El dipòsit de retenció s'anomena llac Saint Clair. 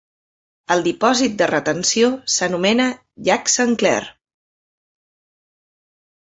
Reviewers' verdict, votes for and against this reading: accepted, 2, 0